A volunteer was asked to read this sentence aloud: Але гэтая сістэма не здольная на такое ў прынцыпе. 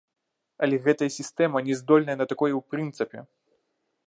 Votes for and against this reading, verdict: 0, 2, rejected